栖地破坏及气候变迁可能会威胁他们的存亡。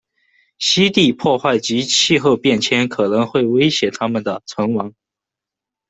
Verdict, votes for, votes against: accepted, 2, 1